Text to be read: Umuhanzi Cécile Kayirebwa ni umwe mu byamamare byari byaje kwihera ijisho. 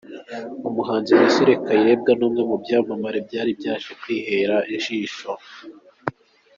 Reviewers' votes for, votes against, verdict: 2, 0, accepted